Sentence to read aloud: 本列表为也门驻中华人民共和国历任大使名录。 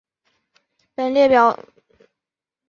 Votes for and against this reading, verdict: 0, 2, rejected